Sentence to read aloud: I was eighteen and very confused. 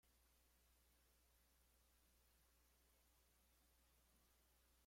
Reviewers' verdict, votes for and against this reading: rejected, 0, 2